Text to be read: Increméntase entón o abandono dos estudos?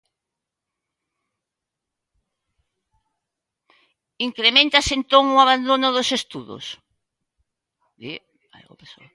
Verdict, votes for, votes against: rejected, 0, 2